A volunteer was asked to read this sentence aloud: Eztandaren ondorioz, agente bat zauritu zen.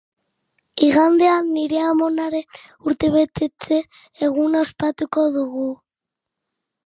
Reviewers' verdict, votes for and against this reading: rejected, 0, 2